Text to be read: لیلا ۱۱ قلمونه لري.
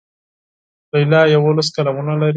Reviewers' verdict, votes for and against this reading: rejected, 0, 2